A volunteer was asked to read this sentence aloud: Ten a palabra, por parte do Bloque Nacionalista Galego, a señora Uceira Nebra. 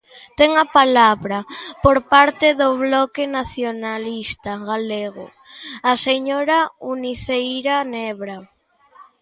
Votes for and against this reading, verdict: 0, 2, rejected